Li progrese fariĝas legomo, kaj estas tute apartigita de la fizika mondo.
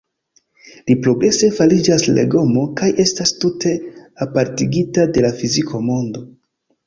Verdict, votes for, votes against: rejected, 0, 2